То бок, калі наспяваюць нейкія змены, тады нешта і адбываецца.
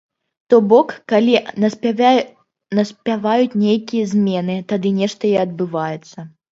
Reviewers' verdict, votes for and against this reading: rejected, 0, 2